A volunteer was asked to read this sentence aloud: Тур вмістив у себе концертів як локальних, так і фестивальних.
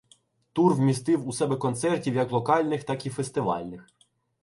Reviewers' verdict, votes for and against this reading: accepted, 2, 0